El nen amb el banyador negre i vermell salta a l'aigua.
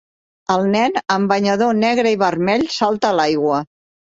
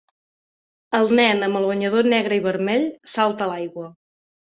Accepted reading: second